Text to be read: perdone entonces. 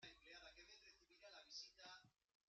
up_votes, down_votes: 0, 2